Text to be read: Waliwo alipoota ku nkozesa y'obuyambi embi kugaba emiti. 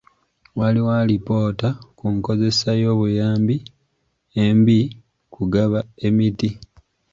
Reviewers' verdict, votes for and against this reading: accepted, 2, 1